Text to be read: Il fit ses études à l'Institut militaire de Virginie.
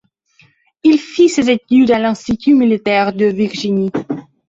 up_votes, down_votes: 2, 0